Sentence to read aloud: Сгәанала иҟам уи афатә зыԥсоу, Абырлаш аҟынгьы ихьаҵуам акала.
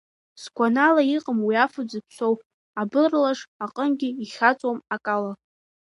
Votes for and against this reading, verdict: 1, 2, rejected